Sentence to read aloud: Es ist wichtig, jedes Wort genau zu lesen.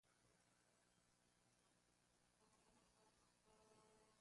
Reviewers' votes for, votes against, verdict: 0, 2, rejected